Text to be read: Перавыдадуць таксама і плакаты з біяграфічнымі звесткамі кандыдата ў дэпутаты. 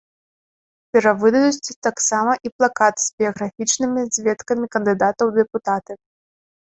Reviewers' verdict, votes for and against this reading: rejected, 0, 2